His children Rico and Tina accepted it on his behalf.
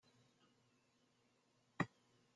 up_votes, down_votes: 0, 2